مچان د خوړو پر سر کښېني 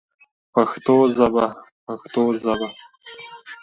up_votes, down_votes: 1, 2